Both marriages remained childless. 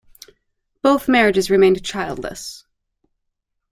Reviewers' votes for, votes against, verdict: 2, 0, accepted